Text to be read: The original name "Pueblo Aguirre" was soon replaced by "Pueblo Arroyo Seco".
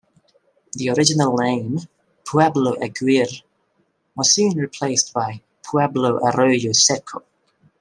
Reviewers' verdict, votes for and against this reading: accepted, 2, 0